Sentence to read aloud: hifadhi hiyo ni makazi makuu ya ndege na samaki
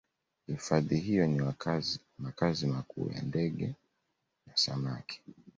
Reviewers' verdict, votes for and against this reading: accepted, 2, 1